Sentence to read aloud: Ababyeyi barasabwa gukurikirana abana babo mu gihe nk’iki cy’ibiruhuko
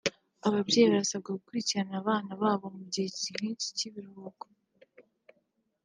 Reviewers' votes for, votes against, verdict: 1, 2, rejected